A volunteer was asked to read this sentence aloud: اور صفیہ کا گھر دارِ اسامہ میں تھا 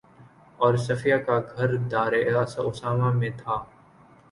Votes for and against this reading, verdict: 6, 2, accepted